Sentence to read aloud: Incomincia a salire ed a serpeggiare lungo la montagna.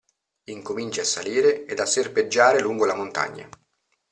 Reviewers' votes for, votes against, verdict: 2, 0, accepted